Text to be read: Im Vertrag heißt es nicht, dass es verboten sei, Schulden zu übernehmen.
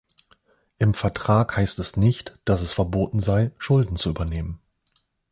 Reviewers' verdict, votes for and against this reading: accepted, 2, 0